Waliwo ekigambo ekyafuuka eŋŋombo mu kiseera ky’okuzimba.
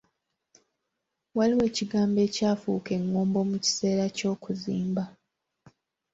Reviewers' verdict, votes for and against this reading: accepted, 2, 0